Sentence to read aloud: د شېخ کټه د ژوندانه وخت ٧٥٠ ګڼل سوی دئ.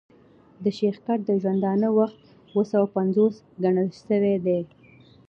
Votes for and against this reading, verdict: 0, 2, rejected